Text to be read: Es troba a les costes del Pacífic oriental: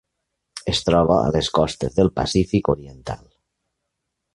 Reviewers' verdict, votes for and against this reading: accepted, 3, 0